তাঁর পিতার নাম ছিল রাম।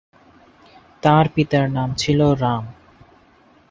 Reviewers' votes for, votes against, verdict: 4, 0, accepted